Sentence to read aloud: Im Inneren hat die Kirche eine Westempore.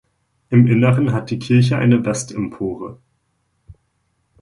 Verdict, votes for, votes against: accepted, 2, 0